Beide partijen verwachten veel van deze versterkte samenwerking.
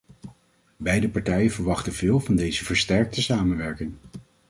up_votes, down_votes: 2, 0